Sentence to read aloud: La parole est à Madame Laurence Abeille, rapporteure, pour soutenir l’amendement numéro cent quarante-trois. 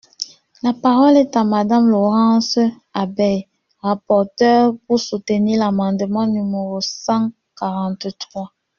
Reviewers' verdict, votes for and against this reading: rejected, 0, 2